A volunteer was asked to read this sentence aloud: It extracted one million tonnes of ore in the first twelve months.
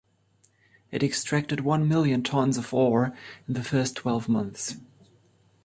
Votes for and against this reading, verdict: 2, 0, accepted